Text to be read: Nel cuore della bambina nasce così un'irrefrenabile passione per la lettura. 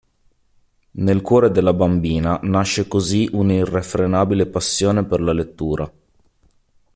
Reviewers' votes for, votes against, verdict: 2, 0, accepted